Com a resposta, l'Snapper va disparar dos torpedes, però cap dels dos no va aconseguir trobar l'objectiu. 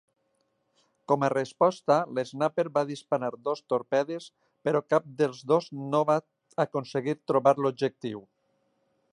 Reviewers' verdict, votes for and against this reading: accepted, 8, 0